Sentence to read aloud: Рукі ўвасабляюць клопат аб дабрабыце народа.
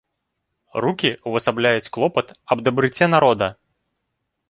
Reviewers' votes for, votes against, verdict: 0, 3, rejected